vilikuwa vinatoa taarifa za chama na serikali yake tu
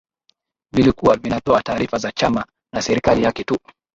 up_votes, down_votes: 0, 2